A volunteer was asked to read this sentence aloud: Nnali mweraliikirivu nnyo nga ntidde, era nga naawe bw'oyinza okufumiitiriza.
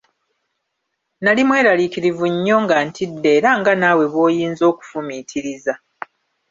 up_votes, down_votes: 1, 2